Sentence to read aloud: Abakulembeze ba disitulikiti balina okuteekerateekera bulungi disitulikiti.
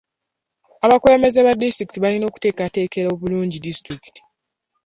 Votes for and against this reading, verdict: 0, 2, rejected